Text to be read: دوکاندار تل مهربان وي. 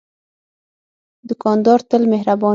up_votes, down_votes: 0, 6